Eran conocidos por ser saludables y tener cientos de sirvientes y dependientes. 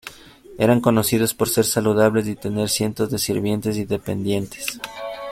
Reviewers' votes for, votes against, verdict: 2, 0, accepted